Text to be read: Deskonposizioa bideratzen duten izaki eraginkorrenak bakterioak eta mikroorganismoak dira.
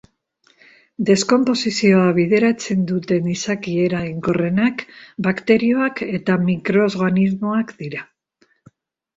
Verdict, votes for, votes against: rejected, 0, 2